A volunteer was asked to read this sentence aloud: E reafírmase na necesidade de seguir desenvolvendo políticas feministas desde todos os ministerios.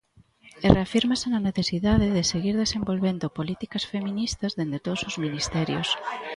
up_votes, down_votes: 1, 2